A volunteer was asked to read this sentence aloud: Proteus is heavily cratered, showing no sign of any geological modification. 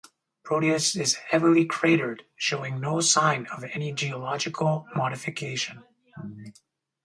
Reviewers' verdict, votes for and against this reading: accepted, 2, 0